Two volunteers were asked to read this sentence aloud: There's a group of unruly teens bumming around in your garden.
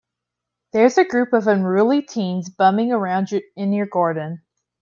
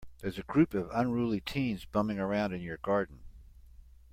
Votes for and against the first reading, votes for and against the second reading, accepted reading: 1, 2, 2, 0, second